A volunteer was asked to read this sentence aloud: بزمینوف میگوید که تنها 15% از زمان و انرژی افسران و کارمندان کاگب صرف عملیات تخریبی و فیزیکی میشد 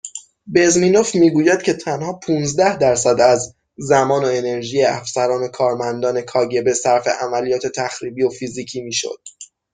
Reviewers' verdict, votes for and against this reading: rejected, 0, 2